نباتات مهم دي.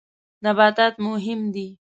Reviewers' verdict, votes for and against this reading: accepted, 2, 0